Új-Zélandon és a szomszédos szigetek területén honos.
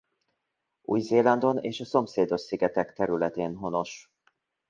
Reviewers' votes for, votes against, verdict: 2, 0, accepted